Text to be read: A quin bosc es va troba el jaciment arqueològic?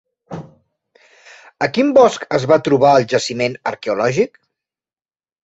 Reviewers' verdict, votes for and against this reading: accepted, 3, 0